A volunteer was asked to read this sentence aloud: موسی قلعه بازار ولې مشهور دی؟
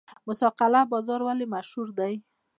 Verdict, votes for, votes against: rejected, 0, 2